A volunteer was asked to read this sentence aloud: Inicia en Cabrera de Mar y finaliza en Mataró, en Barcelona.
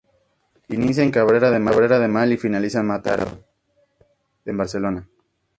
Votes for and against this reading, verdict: 0, 2, rejected